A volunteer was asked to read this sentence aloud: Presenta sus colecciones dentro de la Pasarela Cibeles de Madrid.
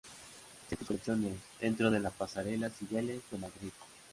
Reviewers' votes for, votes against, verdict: 0, 3, rejected